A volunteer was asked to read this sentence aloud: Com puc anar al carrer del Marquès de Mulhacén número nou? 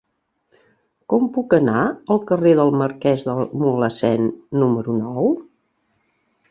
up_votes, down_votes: 2, 1